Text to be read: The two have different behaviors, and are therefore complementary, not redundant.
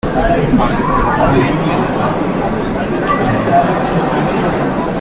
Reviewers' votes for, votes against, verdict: 0, 2, rejected